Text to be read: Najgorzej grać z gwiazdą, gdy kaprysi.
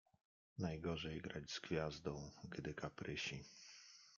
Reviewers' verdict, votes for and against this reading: accepted, 2, 1